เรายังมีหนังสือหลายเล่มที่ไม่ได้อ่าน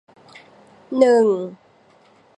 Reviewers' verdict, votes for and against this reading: rejected, 0, 2